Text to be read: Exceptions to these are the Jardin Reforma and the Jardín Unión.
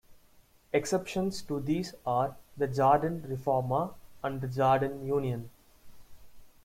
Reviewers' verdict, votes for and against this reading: rejected, 1, 2